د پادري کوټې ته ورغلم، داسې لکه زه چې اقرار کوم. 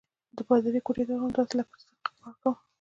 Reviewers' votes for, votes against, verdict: 1, 2, rejected